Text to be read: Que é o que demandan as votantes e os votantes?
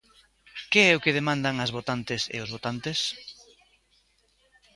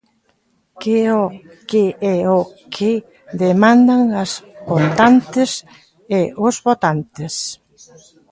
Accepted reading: first